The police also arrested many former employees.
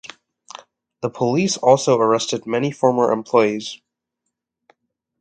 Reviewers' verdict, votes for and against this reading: accepted, 2, 0